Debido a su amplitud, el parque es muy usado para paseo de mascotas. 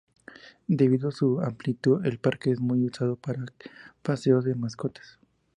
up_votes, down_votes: 2, 0